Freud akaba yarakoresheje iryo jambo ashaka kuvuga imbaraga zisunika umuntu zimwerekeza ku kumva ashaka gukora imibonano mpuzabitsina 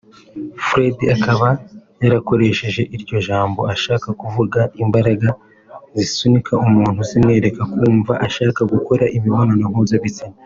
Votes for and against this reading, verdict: 0, 2, rejected